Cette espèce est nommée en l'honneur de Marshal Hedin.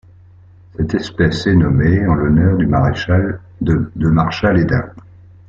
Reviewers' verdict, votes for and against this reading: rejected, 0, 2